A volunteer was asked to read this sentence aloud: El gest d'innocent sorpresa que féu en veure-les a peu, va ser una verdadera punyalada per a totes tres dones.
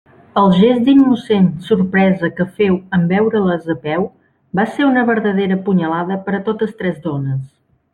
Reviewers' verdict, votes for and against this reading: accepted, 2, 0